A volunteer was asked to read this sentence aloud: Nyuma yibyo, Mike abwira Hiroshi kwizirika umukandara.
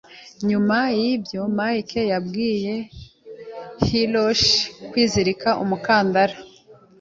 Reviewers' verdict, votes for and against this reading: rejected, 0, 2